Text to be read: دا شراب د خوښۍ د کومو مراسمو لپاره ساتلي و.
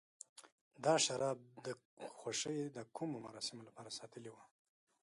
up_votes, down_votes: 0, 2